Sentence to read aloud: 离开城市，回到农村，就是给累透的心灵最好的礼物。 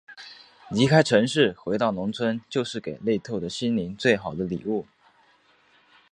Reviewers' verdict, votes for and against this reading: accepted, 2, 0